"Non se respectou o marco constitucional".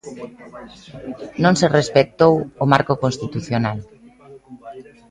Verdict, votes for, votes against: accepted, 2, 0